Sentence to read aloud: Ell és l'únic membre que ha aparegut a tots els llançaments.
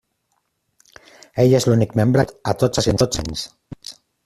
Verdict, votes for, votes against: rejected, 0, 2